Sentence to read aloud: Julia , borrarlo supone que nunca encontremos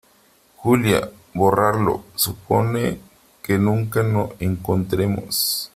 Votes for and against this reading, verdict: 0, 3, rejected